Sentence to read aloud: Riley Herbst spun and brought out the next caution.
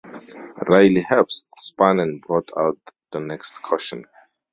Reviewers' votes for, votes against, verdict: 2, 2, rejected